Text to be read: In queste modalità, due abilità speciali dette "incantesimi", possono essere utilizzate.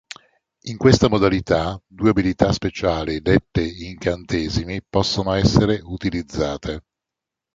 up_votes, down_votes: 2, 3